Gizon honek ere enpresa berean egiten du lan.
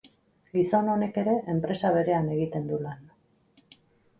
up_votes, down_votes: 4, 0